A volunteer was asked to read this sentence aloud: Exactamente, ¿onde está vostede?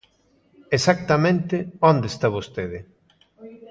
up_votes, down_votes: 1, 2